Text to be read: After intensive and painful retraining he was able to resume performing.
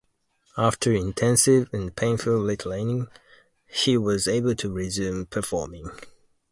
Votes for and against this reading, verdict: 0, 2, rejected